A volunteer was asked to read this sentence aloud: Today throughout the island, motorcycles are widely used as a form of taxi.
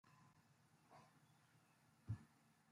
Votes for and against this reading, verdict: 0, 3, rejected